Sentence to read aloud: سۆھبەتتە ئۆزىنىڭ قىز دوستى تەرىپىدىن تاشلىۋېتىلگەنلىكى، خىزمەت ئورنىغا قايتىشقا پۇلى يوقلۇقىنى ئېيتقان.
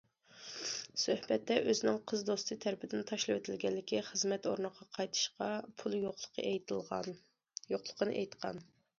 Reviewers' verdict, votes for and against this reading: rejected, 0, 2